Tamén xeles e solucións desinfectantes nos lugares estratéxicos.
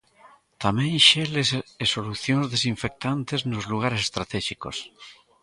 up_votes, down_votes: 1, 3